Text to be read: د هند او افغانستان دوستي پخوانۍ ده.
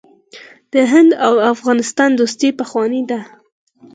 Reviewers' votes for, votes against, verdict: 2, 4, rejected